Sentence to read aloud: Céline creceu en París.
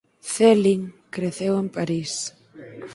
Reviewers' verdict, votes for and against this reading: rejected, 2, 4